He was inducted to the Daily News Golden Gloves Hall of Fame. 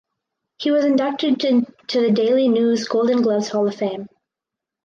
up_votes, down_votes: 2, 4